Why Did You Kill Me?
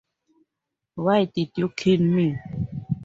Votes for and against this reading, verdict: 4, 0, accepted